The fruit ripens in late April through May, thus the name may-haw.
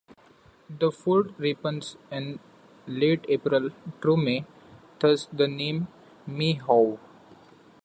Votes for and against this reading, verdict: 0, 2, rejected